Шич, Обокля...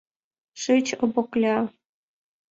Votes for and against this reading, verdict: 2, 0, accepted